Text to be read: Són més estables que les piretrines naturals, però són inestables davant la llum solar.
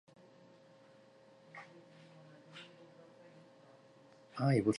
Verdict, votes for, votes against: rejected, 1, 2